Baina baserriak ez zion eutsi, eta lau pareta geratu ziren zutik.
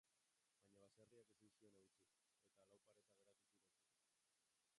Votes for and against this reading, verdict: 0, 2, rejected